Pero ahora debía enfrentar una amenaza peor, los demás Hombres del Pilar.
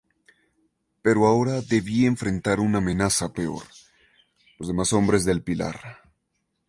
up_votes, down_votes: 2, 0